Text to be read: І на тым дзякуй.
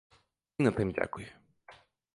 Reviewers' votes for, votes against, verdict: 1, 2, rejected